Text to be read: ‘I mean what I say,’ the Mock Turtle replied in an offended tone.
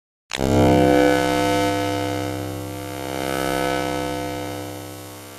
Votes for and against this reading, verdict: 0, 2, rejected